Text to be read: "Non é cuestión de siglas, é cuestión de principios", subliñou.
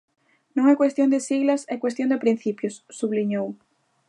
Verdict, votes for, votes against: accepted, 2, 0